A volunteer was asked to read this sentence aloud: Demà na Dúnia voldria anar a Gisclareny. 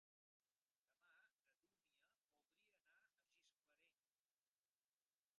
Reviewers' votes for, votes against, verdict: 0, 3, rejected